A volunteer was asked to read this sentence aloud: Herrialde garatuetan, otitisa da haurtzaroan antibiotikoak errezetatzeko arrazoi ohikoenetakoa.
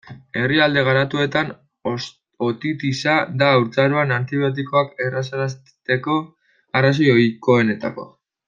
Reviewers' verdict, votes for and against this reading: rejected, 0, 2